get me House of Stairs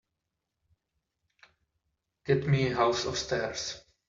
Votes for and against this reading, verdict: 2, 0, accepted